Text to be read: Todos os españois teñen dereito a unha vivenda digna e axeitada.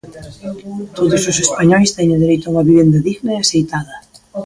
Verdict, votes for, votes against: rejected, 1, 2